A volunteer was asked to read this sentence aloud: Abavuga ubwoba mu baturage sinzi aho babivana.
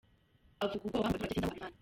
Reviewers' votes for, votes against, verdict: 0, 2, rejected